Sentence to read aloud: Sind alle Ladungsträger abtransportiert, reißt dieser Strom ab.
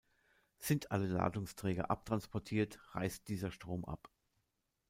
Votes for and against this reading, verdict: 2, 0, accepted